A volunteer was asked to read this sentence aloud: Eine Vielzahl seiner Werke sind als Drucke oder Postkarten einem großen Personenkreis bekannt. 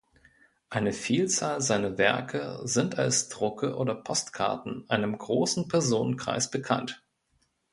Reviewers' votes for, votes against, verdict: 2, 1, accepted